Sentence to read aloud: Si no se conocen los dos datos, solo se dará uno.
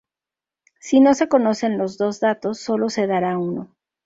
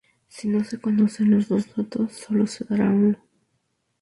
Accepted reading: first